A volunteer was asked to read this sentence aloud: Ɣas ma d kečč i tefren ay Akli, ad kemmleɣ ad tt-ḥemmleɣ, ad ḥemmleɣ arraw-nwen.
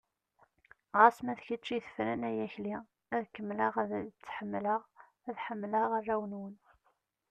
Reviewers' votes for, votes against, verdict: 0, 2, rejected